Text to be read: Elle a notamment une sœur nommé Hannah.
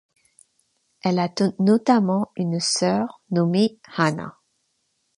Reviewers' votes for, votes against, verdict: 0, 2, rejected